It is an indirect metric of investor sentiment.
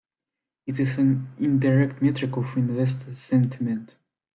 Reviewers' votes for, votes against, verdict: 2, 0, accepted